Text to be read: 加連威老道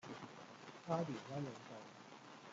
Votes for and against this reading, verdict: 1, 2, rejected